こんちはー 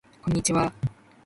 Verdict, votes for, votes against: rejected, 1, 2